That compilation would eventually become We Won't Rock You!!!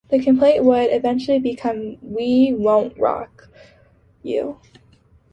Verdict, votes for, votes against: rejected, 0, 2